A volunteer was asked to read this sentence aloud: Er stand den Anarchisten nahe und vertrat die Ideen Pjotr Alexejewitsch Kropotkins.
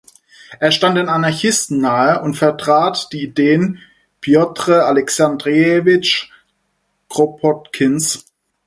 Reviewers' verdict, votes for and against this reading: rejected, 2, 4